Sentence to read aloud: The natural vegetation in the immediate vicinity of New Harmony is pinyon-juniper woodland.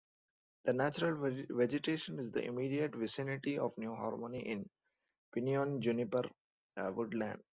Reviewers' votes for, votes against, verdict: 0, 2, rejected